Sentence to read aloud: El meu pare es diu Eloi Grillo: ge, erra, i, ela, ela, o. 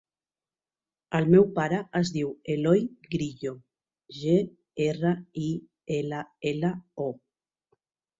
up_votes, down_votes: 2, 0